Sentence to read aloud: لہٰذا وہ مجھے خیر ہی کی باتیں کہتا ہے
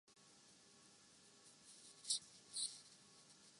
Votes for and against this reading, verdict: 0, 2, rejected